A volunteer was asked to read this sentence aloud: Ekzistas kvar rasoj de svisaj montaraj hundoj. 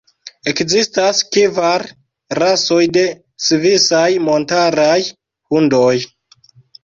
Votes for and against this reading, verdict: 0, 2, rejected